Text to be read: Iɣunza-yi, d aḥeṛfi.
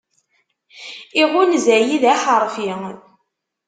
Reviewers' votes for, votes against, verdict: 1, 2, rejected